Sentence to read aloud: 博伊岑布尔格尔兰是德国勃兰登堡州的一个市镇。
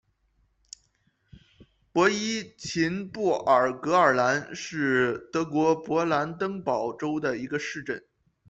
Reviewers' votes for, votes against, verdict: 2, 1, accepted